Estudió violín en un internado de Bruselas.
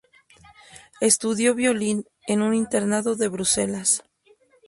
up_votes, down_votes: 2, 0